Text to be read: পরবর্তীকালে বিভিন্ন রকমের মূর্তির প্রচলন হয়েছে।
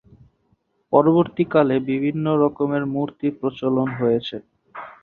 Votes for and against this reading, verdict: 6, 0, accepted